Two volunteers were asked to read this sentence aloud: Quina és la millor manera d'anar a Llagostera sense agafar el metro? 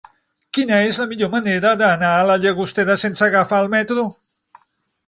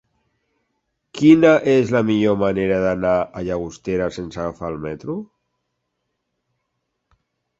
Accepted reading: second